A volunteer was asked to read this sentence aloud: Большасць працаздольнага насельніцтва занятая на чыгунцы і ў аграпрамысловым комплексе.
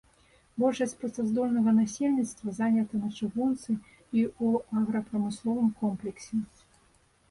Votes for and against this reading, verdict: 0, 2, rejected